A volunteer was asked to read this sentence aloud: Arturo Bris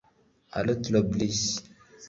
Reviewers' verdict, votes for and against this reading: rejected, 0, 2